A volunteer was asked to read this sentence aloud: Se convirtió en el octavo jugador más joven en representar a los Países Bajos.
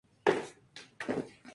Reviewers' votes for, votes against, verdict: 0, 2, rejected